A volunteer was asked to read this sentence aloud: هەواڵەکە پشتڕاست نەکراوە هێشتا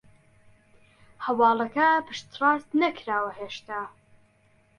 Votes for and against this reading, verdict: 2, 0, accepted